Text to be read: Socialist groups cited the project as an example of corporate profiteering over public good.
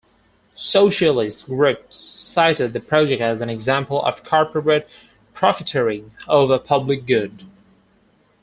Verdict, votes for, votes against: accepted, 4, 2